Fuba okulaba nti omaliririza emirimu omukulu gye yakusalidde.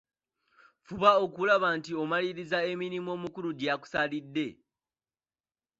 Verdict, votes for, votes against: accepted, 2, 1